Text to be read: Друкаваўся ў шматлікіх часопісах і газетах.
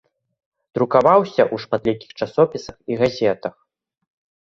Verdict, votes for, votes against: rejected, 1, 2